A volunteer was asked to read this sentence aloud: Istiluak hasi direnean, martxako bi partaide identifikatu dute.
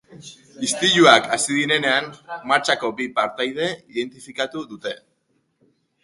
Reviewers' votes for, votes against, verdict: 2, 0, accepted